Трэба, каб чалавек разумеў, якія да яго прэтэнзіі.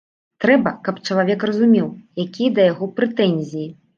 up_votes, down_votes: 2, 0